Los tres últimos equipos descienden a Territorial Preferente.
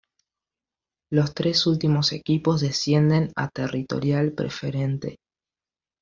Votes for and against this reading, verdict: 2, 0, accepted